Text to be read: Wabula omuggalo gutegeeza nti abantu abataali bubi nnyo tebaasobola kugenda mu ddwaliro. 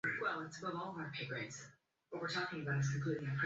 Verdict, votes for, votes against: rejected, 1, 2